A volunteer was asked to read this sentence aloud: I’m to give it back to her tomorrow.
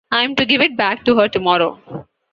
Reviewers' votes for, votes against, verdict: 2, 0, accepted